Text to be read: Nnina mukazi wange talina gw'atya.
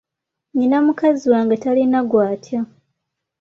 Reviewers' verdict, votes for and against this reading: accepted, 2, 0